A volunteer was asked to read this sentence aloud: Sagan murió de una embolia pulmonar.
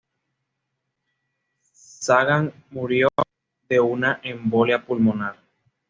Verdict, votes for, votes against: accepted, 2, 0